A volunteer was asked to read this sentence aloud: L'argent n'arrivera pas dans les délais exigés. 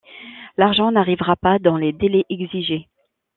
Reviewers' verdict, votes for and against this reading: accepted, 2, 0